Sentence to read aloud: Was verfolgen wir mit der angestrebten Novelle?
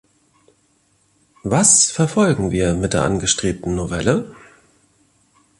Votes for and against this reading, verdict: 2, 0, accepted